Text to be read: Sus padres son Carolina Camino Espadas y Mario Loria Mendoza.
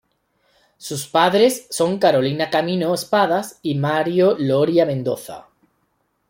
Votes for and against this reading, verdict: 0, 2, rejected